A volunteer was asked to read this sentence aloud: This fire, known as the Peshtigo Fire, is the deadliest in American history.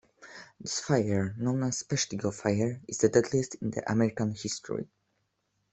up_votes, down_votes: 0, 2